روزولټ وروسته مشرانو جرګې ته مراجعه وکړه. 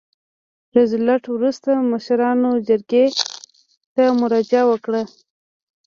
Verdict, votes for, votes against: rejected, 1, 2